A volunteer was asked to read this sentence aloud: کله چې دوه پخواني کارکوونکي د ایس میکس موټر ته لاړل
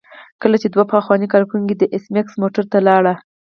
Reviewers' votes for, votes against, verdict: 4, 0, accepted